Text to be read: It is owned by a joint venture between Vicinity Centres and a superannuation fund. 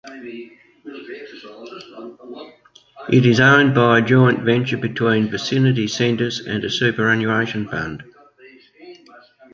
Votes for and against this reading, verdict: 1, 2, rejected